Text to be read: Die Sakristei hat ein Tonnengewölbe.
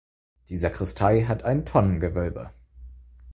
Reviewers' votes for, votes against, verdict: 4, 0, accepted